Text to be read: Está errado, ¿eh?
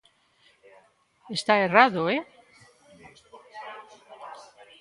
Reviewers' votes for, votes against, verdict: 2, 0, accepted